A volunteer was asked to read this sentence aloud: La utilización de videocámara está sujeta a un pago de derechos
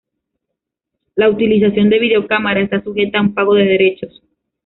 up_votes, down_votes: 2, 0